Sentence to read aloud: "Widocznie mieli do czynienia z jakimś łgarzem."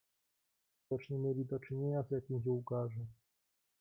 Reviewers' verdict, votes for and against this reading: rejected, 1, 2